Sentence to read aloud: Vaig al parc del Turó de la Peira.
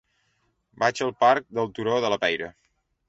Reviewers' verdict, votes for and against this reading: accepted, 3, 0